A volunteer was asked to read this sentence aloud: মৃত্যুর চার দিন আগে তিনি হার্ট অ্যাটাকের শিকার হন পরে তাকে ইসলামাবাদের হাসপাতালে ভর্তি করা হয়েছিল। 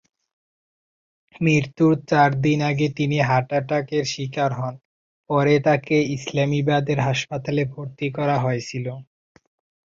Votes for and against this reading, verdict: 0, 3, rejected